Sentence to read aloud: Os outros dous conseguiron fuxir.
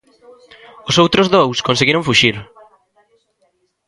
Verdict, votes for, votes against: rejected, 0, 2